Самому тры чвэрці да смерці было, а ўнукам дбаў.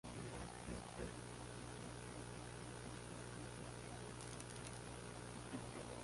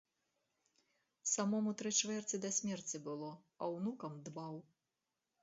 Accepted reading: second